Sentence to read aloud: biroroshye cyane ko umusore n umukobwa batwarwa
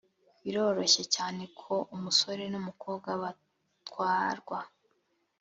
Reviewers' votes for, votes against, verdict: 3, 0, accepted